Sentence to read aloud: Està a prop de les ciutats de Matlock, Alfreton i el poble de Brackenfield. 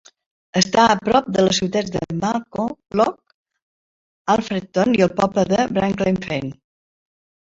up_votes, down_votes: 0, 3